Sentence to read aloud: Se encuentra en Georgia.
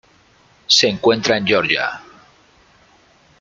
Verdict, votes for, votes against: rejected, 1, 2